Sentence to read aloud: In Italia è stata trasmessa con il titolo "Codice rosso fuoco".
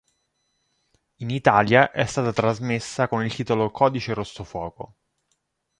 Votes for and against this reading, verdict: 2, 0, accepted